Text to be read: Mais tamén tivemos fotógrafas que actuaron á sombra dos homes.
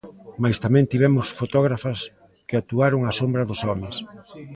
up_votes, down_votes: 2, 0